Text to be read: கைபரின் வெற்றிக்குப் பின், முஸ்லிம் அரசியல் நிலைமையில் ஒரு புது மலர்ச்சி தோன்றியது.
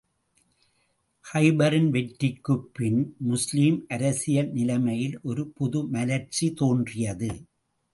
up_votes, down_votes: 2, 0